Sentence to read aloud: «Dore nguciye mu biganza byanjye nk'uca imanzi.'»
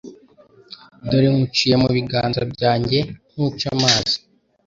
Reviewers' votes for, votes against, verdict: 1, 3, rejected